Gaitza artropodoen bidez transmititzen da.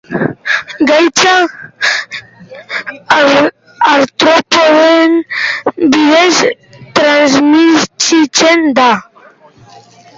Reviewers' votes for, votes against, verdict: 0, 2, rejected